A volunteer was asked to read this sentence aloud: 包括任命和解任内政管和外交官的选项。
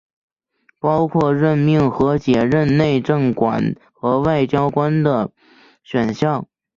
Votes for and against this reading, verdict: 2, 0, accepted